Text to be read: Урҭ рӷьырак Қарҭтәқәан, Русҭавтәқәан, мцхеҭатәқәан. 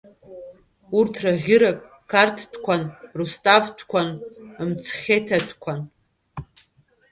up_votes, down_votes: 0, 2